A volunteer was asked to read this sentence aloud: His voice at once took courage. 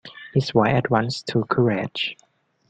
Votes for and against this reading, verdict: 0, 2, rejected